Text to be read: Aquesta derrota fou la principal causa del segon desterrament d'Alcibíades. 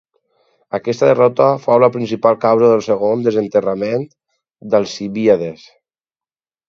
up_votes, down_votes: 0, 4